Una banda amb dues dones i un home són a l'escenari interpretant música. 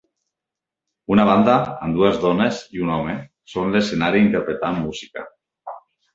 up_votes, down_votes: 3, 1